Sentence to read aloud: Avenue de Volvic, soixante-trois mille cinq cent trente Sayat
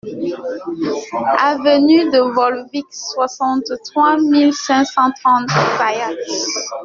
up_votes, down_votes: 1, 2